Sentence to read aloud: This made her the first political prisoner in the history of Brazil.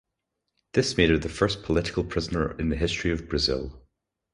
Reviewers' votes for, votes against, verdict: 2, 0, accepted